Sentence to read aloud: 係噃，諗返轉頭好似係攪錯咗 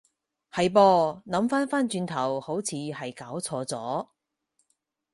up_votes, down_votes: 0, 4